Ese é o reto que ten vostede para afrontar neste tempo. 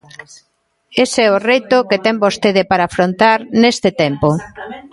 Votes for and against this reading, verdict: 0, 2, rejected